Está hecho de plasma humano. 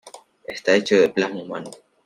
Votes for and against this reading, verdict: 2, 1, accepted